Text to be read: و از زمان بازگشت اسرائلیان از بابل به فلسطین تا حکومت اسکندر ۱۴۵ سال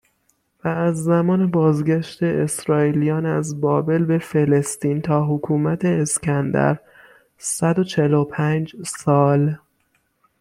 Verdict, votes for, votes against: rejected, 0, 2